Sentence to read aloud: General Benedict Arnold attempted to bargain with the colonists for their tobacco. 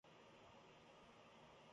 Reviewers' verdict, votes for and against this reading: rejected, 0, 2